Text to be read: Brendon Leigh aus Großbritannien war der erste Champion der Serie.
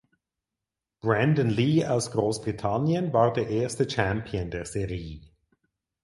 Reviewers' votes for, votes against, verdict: 2, 4, rejected